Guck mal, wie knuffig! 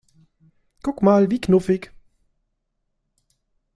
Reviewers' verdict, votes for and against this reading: accepted, 2, 0